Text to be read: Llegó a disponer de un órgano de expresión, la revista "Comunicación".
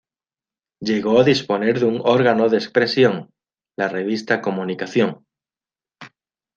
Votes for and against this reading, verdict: 2, 1, accepted